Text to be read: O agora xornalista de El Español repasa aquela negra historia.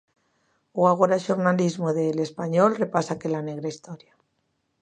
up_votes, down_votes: 0, 2